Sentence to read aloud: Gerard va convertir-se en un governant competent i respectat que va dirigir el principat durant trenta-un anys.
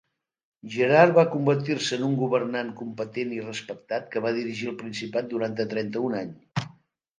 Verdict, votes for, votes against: rejected, 1, 2